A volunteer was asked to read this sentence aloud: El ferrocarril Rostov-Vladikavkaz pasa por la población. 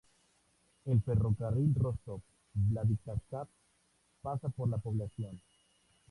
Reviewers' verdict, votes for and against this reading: accepted, 2, 0